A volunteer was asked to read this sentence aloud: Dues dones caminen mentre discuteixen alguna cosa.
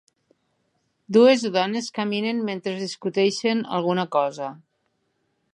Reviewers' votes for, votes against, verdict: 3, 0, accepted